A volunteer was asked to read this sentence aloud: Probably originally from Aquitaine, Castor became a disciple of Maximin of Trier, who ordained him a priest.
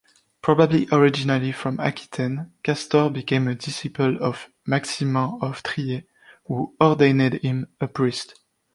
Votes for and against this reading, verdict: 1, 2, rejected